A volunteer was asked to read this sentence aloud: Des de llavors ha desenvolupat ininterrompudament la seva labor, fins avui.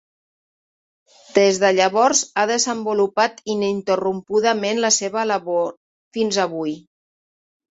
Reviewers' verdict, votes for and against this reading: rejected, 1, 2